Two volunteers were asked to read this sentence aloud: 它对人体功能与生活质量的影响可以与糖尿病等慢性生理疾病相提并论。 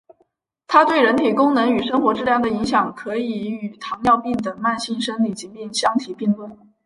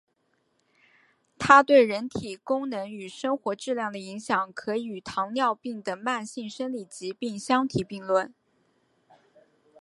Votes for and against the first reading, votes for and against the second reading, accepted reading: 0, 2, 2, 0, second